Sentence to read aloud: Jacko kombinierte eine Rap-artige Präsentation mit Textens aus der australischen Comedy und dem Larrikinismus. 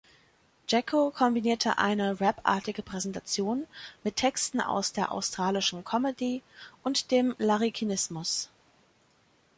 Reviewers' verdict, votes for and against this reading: rejected, 1, 2